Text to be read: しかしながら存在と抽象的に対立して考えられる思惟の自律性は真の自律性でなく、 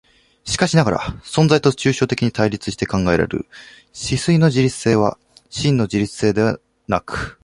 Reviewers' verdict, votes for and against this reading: rejected, 1, 2